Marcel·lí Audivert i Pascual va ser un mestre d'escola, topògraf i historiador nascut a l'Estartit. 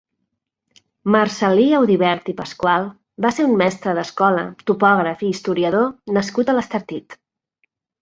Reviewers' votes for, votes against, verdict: 0, 2, rejected